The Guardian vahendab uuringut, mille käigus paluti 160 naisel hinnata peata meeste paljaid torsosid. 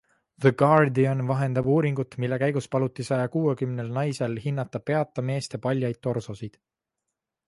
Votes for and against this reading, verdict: 0, 2, rejected